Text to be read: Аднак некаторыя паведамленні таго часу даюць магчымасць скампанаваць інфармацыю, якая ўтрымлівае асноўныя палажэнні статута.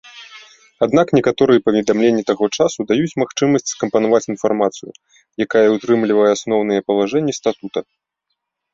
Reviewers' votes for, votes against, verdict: 2, 0, accepted